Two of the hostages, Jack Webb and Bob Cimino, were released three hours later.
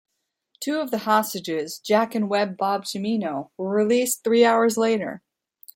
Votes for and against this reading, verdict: 1, 2, rejected